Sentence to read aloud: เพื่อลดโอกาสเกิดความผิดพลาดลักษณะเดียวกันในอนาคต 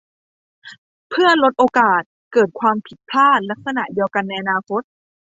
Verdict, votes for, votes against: accepted, 2, 0